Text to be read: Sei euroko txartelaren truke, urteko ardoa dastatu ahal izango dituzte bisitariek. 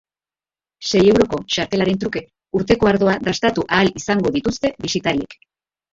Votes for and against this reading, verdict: 3, 3, rejected